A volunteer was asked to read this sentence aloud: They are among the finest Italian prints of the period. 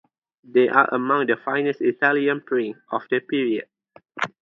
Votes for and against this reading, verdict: 2, 0, accepted